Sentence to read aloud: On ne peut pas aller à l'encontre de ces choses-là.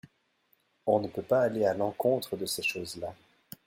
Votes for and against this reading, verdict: 2, 0, accepted